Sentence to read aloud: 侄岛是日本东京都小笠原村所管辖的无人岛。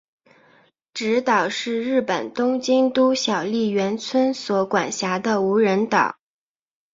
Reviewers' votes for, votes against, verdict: 3, 0, accepted